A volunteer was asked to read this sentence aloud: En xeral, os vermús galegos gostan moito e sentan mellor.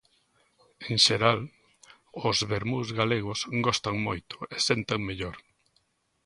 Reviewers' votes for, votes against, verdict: 2, 0, accepted